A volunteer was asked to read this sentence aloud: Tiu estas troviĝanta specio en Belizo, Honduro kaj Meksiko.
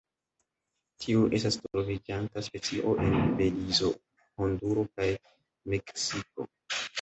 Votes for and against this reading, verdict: 0, 2, rejected